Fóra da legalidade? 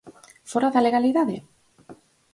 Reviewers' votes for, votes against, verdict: 4, 0, accepted